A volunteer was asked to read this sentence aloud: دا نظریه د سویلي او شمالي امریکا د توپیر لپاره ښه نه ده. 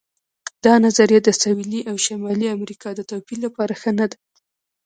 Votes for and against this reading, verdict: 1, 2, rejected